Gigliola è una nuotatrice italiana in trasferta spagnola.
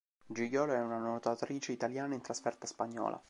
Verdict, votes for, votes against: accepted, 2, 0